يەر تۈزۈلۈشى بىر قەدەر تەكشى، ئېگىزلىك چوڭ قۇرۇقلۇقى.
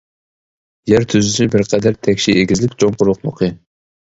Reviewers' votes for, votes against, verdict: 2, 0, accepted